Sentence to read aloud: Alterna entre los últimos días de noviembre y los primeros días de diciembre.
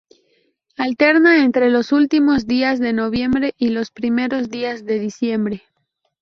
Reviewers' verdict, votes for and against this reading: accepted, 4, 0